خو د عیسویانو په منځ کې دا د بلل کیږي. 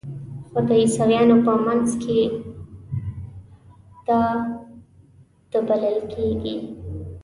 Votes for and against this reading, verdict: 1, 2, rejected